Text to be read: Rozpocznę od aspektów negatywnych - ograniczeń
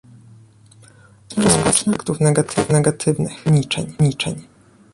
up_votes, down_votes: 0, 2